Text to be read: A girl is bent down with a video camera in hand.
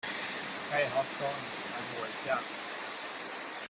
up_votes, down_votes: 0, 2